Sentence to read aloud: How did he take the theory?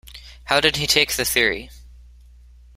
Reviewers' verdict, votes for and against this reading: accepted, 2, 0